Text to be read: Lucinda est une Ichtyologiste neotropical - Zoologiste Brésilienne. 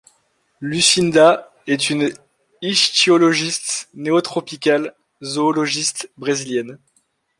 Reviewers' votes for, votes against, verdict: 1, 2, rejected